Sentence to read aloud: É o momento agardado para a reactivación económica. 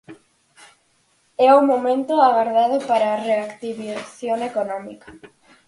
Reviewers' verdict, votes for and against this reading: rejected, 0, 4